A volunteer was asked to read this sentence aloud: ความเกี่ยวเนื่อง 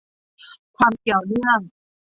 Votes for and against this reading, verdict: 2, 0, accepted